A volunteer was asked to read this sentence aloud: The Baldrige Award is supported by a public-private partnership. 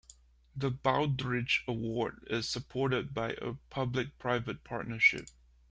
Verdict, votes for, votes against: rejected, 1, 2